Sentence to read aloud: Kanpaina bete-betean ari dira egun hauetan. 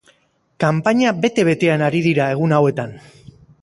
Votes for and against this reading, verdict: 2, 0, accepted